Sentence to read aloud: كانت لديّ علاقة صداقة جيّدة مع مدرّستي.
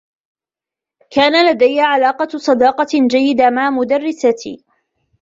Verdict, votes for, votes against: accepted, 2, 1